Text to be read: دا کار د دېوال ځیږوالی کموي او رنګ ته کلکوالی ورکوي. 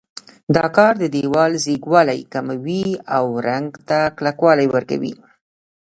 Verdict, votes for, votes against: rejected, 1, 2